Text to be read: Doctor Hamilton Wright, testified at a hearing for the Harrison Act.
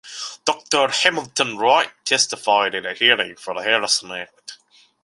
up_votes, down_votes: 2, 0